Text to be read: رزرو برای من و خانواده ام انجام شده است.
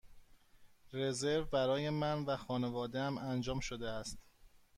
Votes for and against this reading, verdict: 2, 0, accepted